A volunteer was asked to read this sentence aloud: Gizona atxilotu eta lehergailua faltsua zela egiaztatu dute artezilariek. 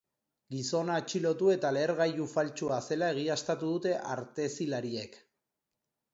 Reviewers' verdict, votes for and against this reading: rejected, 1, 2